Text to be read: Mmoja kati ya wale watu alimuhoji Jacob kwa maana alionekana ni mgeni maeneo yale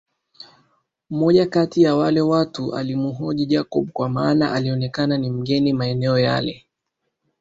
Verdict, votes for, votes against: accepted, 2, 0